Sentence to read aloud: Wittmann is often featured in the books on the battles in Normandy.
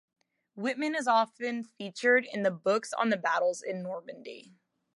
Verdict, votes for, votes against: accepted, 2, 0